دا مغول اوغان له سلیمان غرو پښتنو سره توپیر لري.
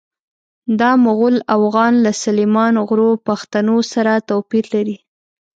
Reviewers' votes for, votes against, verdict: 0, 2, rejected